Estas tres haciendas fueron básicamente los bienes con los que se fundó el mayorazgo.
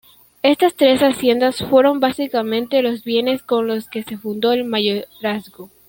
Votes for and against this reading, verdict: 2, 0, accepted